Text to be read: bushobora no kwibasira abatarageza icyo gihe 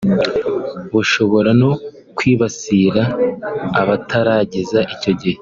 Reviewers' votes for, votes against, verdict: 3, 0, accepted